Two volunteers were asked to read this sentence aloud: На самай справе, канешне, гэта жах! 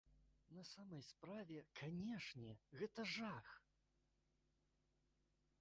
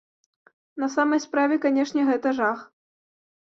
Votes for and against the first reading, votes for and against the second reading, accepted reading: 1, 2, 3, 0, second